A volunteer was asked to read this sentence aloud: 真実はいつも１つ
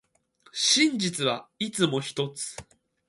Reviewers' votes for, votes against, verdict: 0, 2, rejected